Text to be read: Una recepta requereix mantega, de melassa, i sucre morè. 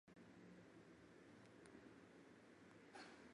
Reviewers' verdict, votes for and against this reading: rejected, 0, 2